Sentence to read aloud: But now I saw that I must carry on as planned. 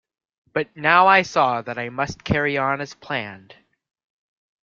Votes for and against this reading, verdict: 2, 1, accepted